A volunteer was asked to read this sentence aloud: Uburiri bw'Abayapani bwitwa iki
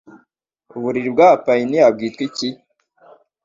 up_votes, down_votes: 2, 0